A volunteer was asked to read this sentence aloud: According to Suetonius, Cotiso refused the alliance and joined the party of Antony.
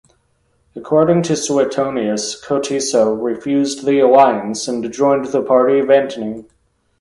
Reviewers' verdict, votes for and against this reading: accepted, 2, 0